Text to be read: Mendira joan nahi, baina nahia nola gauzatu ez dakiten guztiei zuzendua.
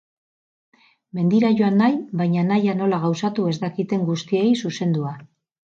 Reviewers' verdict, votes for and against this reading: accepted, 6, 0